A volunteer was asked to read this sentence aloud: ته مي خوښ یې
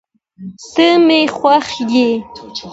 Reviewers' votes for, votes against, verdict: 2, 0, accepted